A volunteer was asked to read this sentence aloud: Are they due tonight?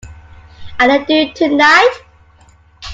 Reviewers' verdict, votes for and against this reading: accepted, 2, 1